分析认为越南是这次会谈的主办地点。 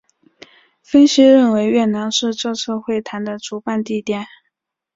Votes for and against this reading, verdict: 6, 0, accepted